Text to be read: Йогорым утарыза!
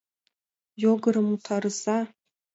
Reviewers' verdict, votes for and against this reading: rejected, 1, 3